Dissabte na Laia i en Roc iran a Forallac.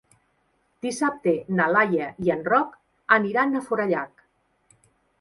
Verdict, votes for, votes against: rejected, 1, 3